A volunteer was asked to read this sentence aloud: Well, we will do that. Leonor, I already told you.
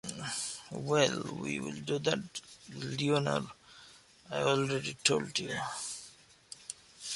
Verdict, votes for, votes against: accepted, 2, 1